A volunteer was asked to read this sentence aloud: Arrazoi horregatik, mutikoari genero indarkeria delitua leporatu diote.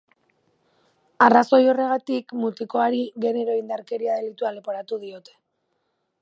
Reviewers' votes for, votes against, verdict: 3, 0, accepted